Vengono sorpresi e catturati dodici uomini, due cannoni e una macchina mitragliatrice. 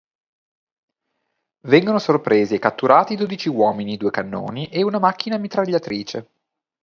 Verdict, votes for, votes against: accepted, 2, 0